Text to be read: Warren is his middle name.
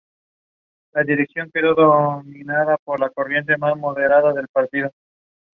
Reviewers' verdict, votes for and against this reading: rejected, 0, 2